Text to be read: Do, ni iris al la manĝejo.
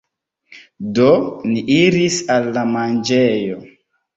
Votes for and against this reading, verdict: 1, 2, rejected